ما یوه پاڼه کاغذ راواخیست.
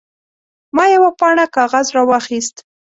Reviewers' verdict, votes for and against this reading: accepted, 2, 0